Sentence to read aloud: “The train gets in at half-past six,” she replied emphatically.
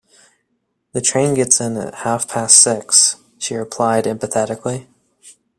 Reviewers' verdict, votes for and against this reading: rejected, 0, 2